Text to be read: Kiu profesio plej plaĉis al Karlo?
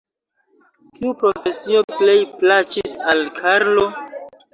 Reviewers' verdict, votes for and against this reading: rejected, 0, 2